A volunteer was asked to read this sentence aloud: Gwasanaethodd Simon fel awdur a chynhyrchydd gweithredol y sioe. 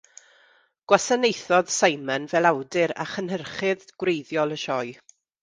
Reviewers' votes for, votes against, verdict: 1, 2, rejected